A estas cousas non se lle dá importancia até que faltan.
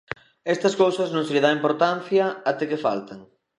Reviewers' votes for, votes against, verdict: 1, 2, rejected